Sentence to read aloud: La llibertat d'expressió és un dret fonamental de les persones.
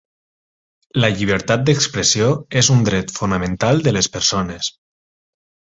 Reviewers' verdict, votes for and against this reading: accepted, 6, 2